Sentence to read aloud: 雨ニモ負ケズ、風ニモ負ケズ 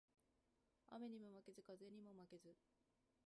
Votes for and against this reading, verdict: 1, 2, rejected